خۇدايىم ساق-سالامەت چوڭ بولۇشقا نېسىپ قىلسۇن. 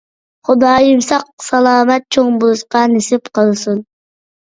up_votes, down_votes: 2, 0